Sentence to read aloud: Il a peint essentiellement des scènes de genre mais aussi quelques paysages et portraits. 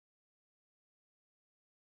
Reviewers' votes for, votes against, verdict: 0, 2, rejected